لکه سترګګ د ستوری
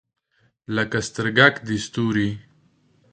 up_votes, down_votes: 1, 2